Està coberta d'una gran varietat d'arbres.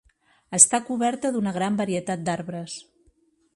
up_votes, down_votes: 3, 0